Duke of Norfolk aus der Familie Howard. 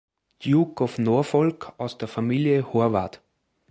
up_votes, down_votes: 2, 3